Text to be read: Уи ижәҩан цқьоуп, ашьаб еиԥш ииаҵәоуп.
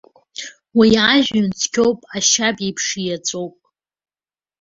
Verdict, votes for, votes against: rejected, 0, 2